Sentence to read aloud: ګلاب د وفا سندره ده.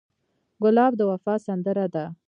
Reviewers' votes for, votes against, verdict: 1, 2, rejected